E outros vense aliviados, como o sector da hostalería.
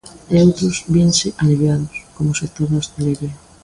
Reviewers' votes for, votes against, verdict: 2, 0, accepted